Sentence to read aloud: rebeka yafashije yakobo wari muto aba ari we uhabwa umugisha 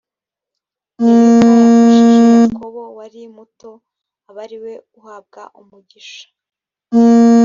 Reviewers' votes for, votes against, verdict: 0, 2, rejected